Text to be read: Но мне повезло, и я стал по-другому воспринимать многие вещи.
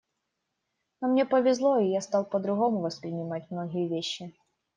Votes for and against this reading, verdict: 2, 0, accepted